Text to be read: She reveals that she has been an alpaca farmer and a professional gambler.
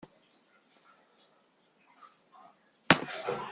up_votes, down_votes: 0, 2